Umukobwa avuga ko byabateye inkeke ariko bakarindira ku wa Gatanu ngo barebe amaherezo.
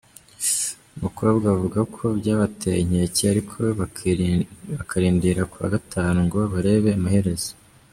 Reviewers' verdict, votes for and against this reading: rejected, 0, 2